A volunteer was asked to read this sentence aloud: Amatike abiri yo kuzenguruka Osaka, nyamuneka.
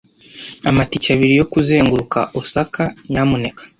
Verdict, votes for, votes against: accepted, 2, 0